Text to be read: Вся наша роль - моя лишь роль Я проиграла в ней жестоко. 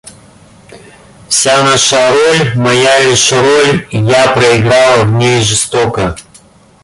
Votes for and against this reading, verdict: 2, 1, accepted